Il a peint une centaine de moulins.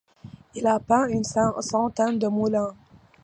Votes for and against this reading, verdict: 0, 2, rejected